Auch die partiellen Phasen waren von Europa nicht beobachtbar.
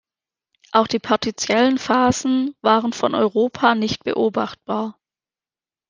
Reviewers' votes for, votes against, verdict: 1, 2, rejected